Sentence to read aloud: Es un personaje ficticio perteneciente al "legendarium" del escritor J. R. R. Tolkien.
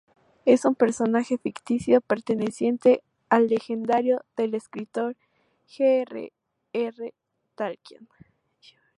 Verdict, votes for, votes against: rejected, 2, 2